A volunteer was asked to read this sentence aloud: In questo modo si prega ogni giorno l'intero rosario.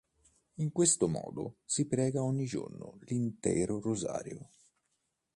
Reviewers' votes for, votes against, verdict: 2, 0, accepted